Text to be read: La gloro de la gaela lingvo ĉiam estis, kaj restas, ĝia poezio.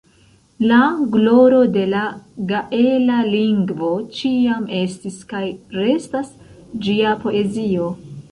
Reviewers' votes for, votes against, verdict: 1, 2, rejected